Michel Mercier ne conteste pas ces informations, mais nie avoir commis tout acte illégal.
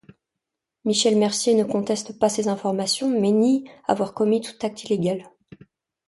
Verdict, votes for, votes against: accepted, 2, 0